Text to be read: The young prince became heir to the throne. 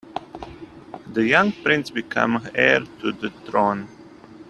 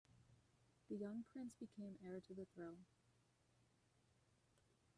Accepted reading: first